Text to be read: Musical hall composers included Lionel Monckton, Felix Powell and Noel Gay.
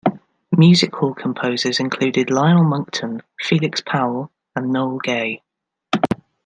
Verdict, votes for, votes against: rejected, 0, 2